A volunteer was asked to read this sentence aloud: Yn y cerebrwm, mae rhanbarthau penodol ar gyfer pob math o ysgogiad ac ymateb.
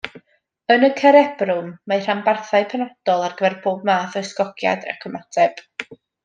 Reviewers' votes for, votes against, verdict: 2, 1, accepted